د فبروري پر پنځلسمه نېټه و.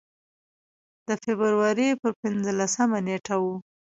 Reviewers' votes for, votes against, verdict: 2, 0, accepted